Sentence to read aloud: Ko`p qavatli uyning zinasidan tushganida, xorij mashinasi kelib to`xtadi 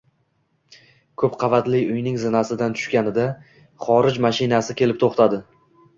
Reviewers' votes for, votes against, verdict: 1, 2, rejected